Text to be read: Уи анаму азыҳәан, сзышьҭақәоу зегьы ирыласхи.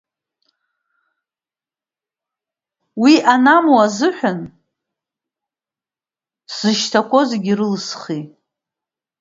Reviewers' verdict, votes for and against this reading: rejected, 1, 3